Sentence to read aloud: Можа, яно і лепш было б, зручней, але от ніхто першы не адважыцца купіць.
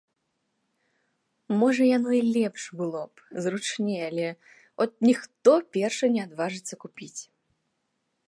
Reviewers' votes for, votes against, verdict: 2, 0, accepted